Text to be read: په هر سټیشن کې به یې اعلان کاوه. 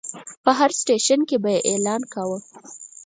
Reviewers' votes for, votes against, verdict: 4, 2, accepted